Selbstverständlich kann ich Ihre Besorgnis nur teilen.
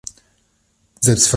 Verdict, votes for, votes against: rejected, 0, 2